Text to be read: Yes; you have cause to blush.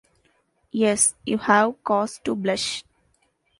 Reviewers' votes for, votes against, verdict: 2, 0, accepted